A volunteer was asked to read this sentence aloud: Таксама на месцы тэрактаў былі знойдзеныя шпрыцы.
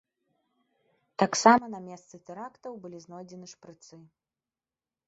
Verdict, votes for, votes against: rejected, 0, 2